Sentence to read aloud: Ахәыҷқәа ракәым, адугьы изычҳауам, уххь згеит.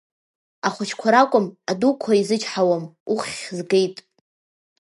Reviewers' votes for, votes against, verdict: 1, 2, rejected